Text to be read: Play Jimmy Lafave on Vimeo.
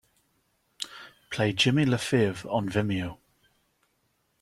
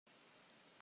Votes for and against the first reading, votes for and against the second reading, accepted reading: 2, 0, 0, 2, first